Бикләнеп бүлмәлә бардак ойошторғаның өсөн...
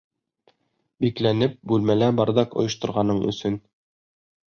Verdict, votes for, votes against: rejected, 0, 2